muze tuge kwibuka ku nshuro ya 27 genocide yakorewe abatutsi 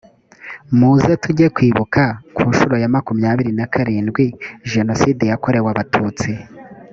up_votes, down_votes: 0, 2